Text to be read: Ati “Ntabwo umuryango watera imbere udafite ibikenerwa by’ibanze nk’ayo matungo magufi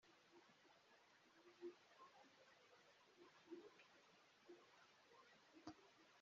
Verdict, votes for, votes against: rejected, 1, 2